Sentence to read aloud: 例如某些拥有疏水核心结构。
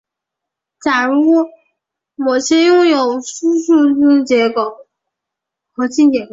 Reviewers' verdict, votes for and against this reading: rejected, 1, 3